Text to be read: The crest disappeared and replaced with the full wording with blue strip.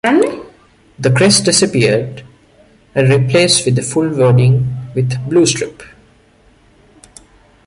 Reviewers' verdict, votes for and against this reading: accepted, 2, 0